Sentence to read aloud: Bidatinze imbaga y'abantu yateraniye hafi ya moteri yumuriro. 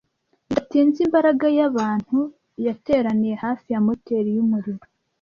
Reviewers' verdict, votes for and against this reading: rejected, 1, 2